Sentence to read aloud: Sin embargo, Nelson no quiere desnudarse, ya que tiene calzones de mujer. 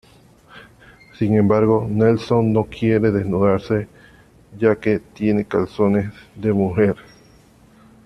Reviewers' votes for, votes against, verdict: 2, 0, accepted